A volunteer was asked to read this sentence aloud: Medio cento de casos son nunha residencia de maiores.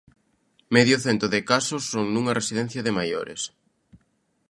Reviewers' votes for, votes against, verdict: 2, 0, accepted